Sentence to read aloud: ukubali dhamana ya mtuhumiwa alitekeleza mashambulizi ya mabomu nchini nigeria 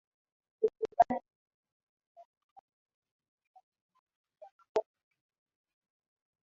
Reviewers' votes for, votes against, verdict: 0, 2, rejected